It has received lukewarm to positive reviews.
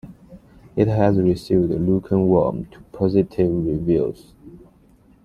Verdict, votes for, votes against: accepted, 2, 0